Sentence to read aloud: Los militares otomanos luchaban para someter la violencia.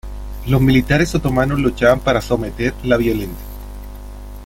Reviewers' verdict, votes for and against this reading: rejected, 1, 2